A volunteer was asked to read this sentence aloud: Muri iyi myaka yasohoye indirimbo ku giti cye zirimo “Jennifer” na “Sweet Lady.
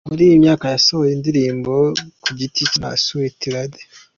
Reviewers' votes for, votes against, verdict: 0, 2, rejected